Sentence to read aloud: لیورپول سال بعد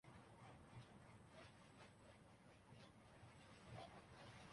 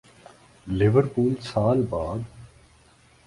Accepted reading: second